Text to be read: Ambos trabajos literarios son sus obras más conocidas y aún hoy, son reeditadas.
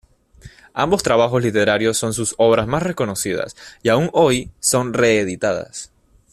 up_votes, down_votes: 0, 2